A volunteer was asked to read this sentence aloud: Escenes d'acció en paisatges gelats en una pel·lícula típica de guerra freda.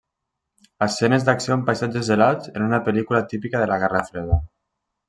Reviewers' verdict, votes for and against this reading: rejected, 1, 2